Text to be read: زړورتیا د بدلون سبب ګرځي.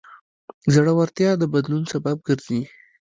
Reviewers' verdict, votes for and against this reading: rejected, 0, 2